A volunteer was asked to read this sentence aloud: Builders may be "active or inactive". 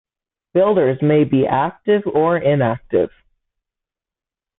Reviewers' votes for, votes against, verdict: 2, 0, accepted